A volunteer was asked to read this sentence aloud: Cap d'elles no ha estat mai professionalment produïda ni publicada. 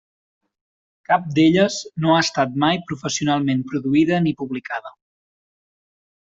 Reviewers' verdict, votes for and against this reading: accepted, 4, 0